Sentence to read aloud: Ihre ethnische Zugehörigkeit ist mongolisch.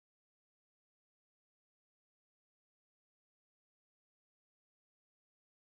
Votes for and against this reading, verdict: 0, 2, rejected